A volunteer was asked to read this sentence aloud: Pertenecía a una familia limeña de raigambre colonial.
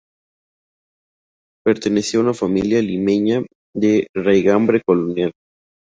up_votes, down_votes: 2, 0